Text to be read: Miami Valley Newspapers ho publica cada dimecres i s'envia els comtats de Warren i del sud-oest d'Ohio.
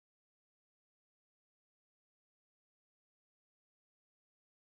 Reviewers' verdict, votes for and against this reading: rejected, 1, 2